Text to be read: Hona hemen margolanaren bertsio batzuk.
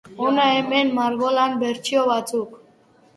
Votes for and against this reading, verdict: 0, 3, rejected